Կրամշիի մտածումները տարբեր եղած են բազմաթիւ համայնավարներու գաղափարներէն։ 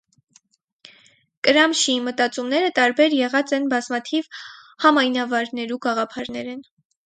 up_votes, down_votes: 2, 0